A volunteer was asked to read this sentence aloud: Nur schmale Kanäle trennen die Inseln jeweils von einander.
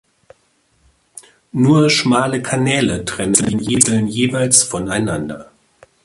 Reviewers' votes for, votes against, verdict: 0, 2, rejected